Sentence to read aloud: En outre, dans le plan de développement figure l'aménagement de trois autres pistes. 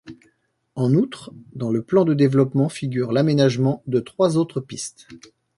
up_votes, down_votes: 2, 0